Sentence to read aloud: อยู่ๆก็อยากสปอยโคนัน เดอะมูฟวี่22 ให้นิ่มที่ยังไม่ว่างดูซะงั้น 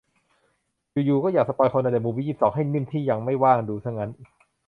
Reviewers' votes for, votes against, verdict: 0, 2, rejected